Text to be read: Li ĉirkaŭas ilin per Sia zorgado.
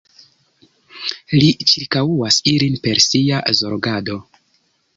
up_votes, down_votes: 0, 2